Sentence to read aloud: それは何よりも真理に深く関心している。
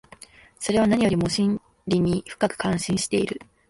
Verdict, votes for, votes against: rejected, 0, 2